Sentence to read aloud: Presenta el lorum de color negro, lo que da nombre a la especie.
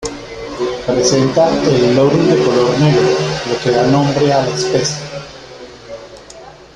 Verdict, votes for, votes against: rejected, 1, 2